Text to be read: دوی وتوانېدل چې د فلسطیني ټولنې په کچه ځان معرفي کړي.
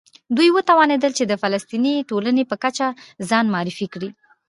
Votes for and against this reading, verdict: 1, 2, rejected